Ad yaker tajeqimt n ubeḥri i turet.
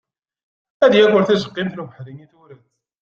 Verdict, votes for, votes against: rejected, 0, 2